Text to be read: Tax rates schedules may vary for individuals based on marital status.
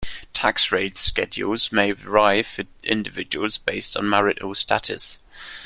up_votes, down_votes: 1, 2